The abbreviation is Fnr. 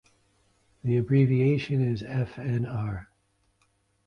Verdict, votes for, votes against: accepted, 2, 0